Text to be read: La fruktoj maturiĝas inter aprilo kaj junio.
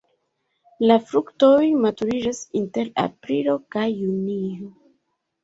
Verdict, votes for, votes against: rejected, 1, 2